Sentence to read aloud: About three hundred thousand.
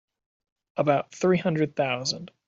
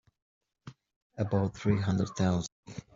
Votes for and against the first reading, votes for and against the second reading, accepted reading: 2, 0, 0, 2, first